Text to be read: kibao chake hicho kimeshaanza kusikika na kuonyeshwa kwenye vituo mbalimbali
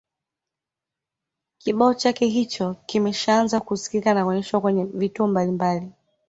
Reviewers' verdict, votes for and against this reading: accepted, 2, 0